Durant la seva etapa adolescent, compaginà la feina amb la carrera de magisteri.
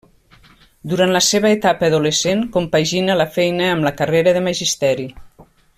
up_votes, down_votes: 0, 2